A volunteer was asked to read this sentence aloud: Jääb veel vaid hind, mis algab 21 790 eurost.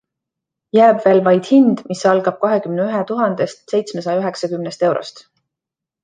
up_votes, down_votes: 0, 2